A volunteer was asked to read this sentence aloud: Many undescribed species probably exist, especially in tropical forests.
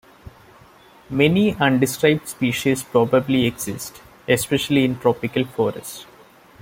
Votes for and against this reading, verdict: 2, 1, accepted